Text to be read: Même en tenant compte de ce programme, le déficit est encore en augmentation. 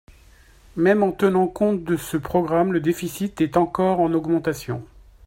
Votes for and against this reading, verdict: 2, 0, accepted